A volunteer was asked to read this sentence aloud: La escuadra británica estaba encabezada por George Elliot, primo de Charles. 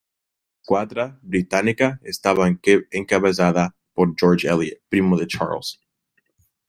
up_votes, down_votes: 0, 2